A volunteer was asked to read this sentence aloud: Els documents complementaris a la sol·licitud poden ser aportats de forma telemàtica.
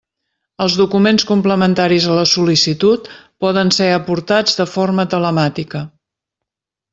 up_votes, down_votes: 3, 0